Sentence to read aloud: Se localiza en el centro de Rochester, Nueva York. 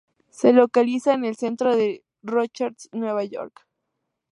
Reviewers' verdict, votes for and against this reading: rejected, 0, 4